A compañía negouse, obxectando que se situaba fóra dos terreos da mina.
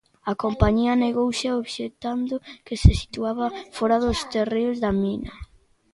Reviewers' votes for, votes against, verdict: 1, 2, rejected